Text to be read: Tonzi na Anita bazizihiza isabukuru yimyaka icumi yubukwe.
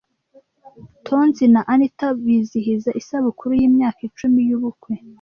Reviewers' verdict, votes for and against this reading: rejected, 1, 2